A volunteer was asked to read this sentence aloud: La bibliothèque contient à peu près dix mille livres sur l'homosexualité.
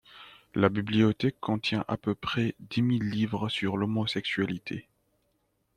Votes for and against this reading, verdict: 2, 0, accepted